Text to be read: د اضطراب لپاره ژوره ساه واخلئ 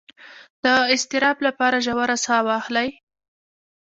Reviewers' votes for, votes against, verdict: 2, 0, accepted